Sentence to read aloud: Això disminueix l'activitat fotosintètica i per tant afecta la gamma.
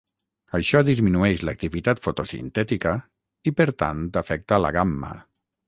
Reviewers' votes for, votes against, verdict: 0, 3, rejected